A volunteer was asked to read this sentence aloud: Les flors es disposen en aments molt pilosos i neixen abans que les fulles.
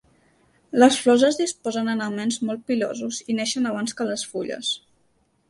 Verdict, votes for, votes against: accepted, 2, 0